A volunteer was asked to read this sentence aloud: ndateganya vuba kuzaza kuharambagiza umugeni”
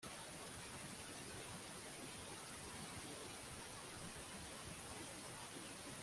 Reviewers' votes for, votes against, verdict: 1, 2, rejected